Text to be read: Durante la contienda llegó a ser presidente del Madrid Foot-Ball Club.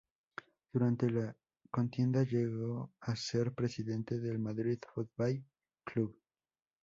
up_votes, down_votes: 2, 4